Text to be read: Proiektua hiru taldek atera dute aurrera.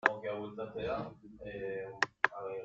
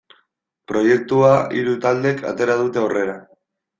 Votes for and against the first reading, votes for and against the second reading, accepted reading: 0, 2, 2, 0, second